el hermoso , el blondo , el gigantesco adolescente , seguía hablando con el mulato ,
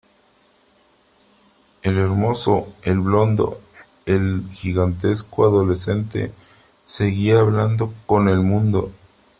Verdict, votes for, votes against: rejected, 0, 3